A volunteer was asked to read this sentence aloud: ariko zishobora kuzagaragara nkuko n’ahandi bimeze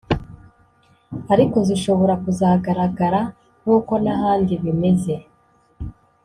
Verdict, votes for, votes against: accepted, 4, 0